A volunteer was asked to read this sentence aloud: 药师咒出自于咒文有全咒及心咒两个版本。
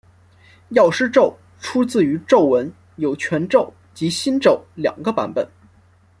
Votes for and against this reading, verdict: 2, 0, accepted